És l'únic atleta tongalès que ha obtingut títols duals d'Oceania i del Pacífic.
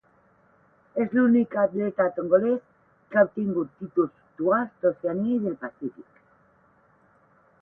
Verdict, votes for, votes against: accepted, 8, 4